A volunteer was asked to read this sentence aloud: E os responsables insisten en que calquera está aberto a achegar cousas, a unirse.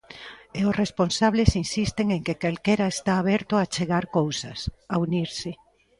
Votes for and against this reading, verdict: 2, 0, accepted